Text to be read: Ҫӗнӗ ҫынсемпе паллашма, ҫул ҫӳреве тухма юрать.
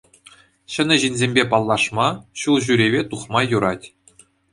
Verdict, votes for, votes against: accepted, 2, 0